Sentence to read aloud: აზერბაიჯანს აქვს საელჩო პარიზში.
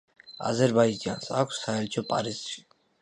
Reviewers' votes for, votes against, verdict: 2, 0, accepted